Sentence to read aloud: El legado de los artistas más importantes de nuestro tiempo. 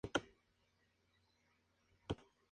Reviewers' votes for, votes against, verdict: 2, 6, rejected